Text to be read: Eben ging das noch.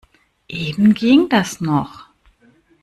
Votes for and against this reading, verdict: 2, 0, accepted